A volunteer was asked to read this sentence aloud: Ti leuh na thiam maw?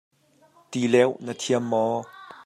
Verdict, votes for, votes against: accepted, 2, 0